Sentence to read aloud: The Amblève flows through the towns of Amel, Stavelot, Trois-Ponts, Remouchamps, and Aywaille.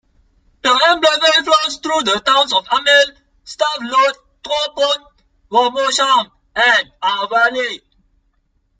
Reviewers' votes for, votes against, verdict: 0, 2, rejected